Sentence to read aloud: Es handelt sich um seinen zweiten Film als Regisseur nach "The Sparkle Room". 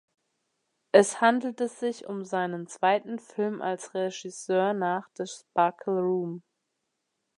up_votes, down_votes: 0, 2